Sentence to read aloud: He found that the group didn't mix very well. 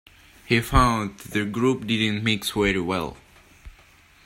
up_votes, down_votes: 0, 2